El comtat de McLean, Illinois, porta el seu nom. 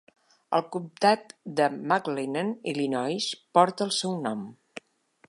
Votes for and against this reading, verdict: 0, 2, rejected